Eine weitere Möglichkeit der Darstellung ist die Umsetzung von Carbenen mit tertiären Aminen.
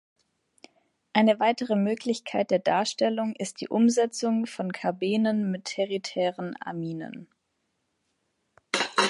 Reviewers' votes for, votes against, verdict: 1, 2, rejected